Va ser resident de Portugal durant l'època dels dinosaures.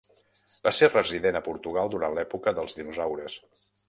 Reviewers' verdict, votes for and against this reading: rejected, 0, 2